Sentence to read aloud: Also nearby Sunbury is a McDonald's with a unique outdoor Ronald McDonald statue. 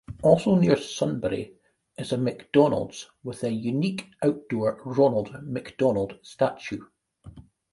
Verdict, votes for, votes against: rejected, 0, 2